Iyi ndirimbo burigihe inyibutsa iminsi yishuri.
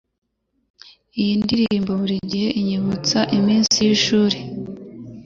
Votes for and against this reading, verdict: 2, 0, accepted